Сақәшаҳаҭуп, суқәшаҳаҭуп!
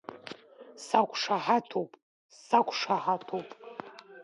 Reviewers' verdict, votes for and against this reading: rejected, 0, 2